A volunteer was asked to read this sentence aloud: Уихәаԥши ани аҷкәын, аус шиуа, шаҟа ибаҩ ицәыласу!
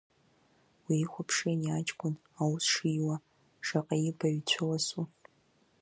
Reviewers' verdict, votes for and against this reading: rejected, 0, 2